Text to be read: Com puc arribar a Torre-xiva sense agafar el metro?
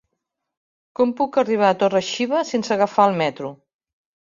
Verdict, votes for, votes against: accepted, 3, 0